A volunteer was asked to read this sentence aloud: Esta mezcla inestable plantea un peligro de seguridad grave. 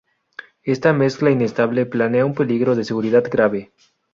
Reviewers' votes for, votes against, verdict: 0, 2, rejected